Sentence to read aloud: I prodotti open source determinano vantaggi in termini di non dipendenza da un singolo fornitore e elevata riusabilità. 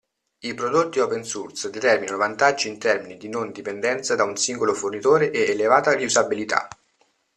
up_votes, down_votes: 2, 1